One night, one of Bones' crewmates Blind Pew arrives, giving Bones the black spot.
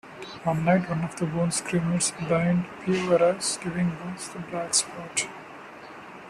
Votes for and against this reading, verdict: 0, 2, rejected